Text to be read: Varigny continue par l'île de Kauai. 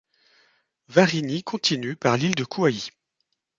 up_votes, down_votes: 1, 2